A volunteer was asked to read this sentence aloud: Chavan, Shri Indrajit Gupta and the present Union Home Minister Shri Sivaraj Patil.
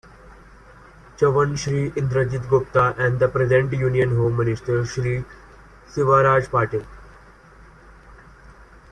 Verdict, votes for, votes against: rejected, 0, 2